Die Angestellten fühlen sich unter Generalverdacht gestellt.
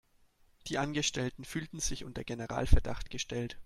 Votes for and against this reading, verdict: 2, 0, accepted